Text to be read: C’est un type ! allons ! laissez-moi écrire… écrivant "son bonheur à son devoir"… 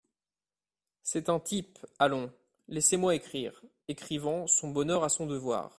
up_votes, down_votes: 2, 0